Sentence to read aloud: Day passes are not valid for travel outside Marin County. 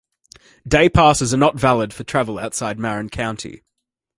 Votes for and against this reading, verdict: 2, 0, accepted